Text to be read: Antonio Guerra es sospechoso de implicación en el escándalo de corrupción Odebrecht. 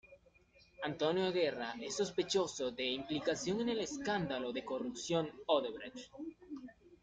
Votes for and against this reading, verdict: 2, 1, accepted